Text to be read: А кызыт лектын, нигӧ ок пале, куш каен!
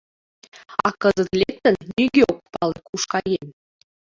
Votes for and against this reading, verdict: 2, 1, accepted